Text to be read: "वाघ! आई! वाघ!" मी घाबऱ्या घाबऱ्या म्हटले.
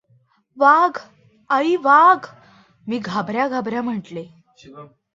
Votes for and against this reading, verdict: 2, 0, accepted